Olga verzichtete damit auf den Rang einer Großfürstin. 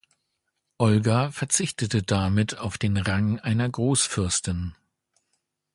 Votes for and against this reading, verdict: 2, 0, accepted